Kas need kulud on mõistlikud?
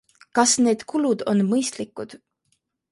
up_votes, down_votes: 2, 0